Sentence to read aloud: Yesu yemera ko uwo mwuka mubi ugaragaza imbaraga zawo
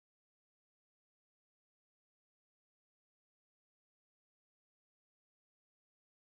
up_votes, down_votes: 1, 2